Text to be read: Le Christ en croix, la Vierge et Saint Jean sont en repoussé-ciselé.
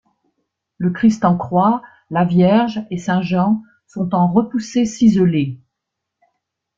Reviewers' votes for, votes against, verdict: 3, 0, accepted